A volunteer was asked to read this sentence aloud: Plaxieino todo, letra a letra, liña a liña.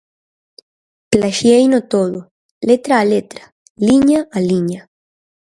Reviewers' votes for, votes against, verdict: 4, 0, accepted